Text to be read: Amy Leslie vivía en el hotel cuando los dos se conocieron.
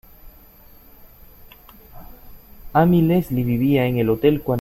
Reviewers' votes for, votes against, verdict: 0, 2, rejected